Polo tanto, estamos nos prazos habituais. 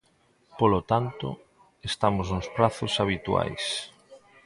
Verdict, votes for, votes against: accepted, 2, 0